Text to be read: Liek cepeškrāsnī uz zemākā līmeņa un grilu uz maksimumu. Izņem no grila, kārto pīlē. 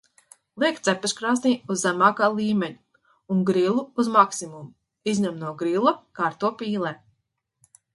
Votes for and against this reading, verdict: 2, 0, accepted